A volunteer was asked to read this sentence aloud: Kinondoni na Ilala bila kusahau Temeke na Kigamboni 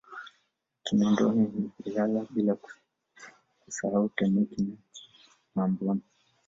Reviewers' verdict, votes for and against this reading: rejected, 1, 2